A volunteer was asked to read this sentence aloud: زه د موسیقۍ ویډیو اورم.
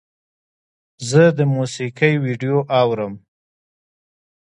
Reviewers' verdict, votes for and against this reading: accepted, 2, 0